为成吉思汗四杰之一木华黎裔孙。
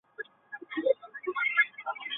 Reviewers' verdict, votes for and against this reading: rejected, 1, 3